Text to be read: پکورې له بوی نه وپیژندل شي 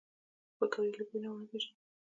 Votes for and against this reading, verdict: 0, 2, rejected